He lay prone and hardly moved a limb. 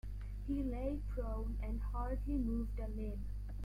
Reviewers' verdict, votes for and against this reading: accepted, 2, 0